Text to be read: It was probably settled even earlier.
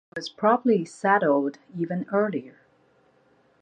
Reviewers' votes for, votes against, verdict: 0, 2, rejected